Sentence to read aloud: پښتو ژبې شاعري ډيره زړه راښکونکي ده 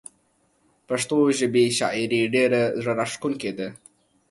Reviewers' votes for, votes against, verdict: 2, 0, accepted